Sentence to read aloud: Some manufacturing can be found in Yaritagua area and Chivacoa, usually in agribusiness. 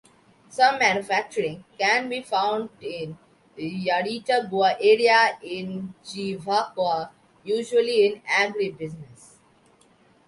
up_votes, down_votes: 2, 0